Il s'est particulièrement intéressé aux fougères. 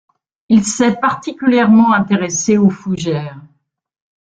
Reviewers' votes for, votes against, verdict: 2, 3, rejected